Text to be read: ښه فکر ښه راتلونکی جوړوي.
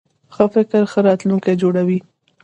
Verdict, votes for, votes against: rejected, 1, 2